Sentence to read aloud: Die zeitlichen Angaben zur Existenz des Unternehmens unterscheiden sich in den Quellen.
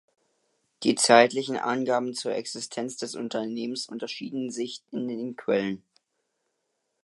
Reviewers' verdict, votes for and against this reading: rejected, 0, 2